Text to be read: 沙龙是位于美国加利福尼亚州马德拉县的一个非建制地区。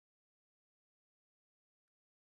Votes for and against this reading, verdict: 1, 3, rejected